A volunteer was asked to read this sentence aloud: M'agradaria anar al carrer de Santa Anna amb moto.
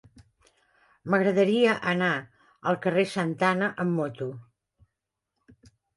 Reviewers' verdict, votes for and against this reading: rejected, 0, 2